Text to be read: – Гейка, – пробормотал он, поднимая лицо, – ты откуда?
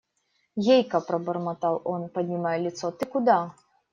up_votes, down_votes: 0, 2